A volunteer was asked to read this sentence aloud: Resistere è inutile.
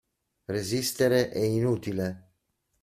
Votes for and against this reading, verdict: 2, 0, accepted